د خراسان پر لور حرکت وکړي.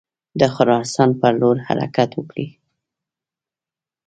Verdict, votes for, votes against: accepted, 2, 0